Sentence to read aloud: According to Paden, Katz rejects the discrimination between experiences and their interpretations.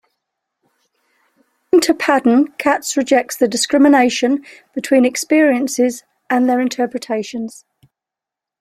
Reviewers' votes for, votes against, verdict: 0, 2, rejected